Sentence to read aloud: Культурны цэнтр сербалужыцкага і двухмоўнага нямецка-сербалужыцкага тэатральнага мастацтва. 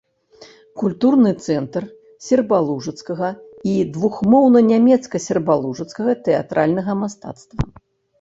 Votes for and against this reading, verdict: 0, 2, rejected